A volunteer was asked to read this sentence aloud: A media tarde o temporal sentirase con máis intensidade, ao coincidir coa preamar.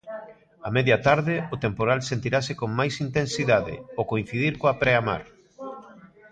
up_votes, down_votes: 0, 2